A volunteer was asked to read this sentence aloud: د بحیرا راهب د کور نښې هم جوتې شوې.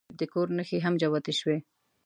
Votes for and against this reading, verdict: 1, 2, rejected